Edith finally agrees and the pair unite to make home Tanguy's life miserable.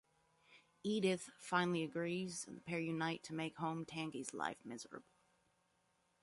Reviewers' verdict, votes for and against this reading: rejected, 1, 2